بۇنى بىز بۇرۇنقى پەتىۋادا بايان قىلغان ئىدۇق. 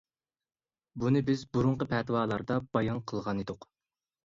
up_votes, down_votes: 0, 2